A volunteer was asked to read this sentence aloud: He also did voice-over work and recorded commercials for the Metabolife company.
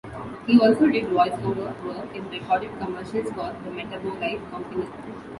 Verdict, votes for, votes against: rejected, 1, 2